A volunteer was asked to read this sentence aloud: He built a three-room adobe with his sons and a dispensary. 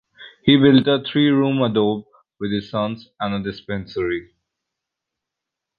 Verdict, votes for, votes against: rejected, 1, 2